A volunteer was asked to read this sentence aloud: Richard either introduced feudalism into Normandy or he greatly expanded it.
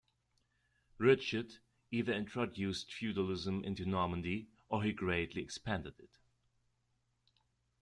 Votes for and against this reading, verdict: 2, 0, accepted